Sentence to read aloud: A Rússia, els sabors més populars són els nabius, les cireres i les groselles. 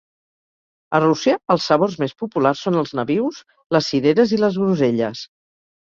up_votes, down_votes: 2, 0